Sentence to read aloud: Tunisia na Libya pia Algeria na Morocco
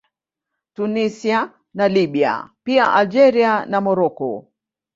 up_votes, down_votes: 1, 2